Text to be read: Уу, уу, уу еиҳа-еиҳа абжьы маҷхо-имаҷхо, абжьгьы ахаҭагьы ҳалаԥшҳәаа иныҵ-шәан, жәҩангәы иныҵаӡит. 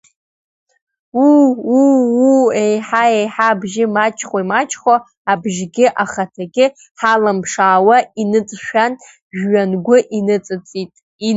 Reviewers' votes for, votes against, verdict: 1, 2, rejected